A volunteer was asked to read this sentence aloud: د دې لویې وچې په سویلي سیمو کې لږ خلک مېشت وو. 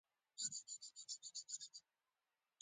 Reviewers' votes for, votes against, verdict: 0, 2, rejected